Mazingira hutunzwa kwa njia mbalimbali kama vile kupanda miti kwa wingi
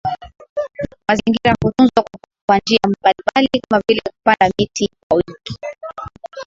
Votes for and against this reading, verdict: 0, 2, rejected